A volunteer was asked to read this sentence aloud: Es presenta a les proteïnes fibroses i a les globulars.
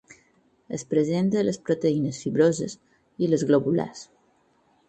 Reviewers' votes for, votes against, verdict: 2, 4, rejected